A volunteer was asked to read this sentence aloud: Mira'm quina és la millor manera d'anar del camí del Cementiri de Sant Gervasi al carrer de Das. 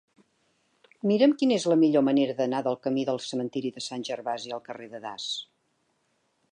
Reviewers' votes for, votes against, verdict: 4, 0, accepted